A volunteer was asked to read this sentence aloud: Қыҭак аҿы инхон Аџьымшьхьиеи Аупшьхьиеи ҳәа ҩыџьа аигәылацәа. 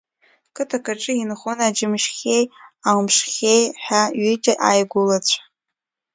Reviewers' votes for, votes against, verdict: 0, 2, rejected